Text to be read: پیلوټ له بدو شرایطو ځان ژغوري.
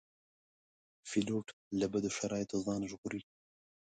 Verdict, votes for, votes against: accepted, 2, 0